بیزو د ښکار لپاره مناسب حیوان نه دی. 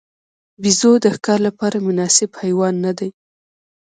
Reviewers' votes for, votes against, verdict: 1, 2, rejected